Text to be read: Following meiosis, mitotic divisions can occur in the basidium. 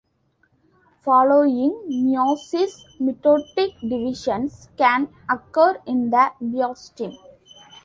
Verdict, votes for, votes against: rejected, 1, 2